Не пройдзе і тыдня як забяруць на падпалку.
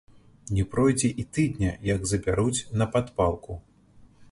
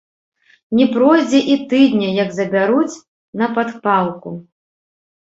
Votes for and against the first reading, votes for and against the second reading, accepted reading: 2, 0, 1, 3, first